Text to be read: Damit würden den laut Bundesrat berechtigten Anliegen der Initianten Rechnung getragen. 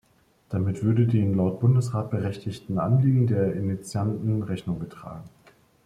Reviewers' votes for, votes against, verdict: 2, 0, accepted